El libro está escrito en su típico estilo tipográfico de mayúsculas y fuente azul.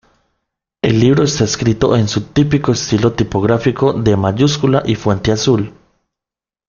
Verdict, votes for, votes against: rejected, 1, 2